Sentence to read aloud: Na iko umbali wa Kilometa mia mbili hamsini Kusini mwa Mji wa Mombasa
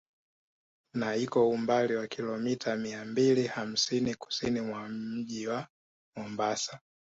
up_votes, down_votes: 2, 0